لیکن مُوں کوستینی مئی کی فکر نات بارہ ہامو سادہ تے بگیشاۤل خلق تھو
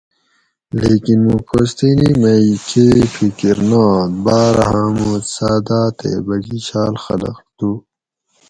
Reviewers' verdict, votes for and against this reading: rejected, 2, 2